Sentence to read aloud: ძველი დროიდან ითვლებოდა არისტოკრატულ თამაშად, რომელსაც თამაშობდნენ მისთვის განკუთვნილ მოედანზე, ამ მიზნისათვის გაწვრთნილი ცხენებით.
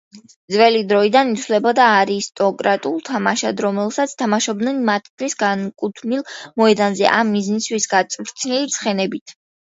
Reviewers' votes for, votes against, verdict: 2, 1, accepted